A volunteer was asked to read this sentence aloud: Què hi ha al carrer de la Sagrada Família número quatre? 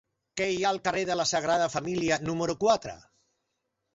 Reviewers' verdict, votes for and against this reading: rejected, 0, 2